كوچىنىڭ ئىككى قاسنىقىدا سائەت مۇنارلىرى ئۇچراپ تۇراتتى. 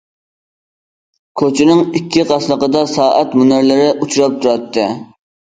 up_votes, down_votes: 2, 0